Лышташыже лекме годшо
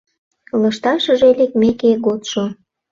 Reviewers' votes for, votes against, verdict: 0, 2, rejected